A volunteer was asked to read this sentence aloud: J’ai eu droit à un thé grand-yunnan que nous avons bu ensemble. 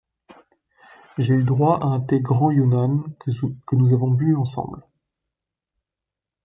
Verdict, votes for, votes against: rejected, 1, 2